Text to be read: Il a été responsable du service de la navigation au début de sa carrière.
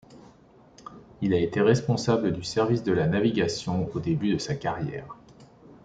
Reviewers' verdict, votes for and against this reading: accepted, 2, 0